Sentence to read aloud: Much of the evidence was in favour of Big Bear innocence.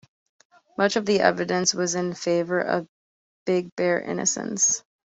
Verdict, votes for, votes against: accepted, 2, 0